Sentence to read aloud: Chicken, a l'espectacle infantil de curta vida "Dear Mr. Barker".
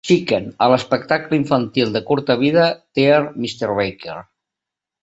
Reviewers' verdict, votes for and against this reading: accepted, 2, 0